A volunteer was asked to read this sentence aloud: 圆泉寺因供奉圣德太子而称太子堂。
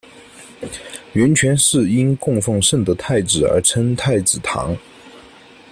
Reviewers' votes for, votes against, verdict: 2, 0, accepted